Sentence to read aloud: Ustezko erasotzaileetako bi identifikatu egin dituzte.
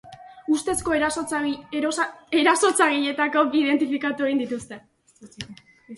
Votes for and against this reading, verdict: 0, 2, rejected